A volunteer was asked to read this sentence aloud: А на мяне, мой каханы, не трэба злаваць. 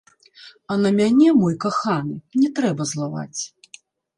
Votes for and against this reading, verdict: 0, 2, rejected